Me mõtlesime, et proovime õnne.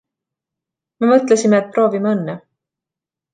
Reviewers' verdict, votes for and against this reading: accepted, 2, 0